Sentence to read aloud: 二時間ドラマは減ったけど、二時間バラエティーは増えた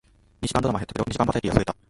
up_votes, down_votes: 0, 2